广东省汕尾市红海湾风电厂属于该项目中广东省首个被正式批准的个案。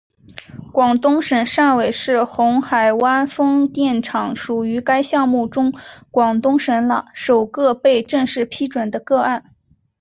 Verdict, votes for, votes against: accepted, 8, 1